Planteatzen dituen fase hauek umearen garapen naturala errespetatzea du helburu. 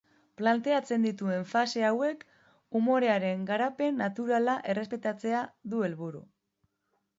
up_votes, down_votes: 3, 4